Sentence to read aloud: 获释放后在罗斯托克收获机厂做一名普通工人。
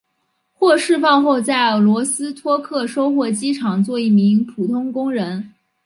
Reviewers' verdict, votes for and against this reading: accepted, 4, 0